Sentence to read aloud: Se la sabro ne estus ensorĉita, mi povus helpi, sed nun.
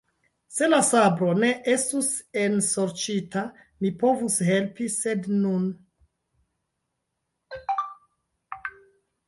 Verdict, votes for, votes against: rejected, 2, 3